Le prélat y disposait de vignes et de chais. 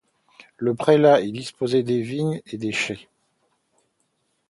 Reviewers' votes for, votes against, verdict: 0, 2, rejected